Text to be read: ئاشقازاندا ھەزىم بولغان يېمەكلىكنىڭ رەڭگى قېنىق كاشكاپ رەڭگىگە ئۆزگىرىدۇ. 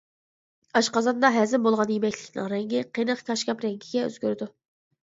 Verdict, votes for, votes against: accepted, 2, 0